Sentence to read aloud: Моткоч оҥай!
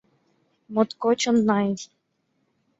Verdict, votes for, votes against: rejected, 1, 2